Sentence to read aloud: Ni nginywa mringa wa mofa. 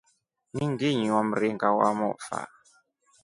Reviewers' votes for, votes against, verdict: 2, 0, accepted